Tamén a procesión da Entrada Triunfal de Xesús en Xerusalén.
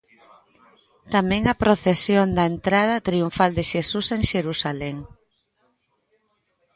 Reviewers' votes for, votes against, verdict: 2, 0, accepted